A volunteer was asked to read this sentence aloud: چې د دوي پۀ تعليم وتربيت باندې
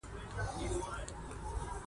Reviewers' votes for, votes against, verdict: 1, 2, rejected